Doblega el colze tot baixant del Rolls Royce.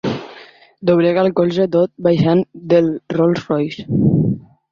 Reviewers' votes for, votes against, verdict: 3, 0, accepted